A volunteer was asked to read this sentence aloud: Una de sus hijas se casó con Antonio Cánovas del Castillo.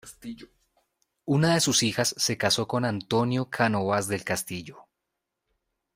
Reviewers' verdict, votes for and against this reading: rejected, 1, 2